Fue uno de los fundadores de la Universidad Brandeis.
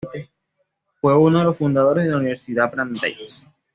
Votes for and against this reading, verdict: 2, 0, accepted